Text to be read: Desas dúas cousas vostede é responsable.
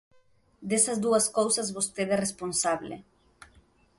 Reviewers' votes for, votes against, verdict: 2, 0, accepted